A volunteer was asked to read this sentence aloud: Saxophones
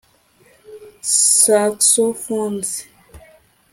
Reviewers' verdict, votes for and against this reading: rejected, 0, 2